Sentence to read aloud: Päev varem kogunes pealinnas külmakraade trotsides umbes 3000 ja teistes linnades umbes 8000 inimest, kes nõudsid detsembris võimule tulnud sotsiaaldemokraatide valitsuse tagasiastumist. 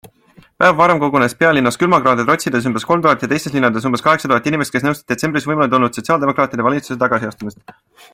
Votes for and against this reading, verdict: 0, 2, rejected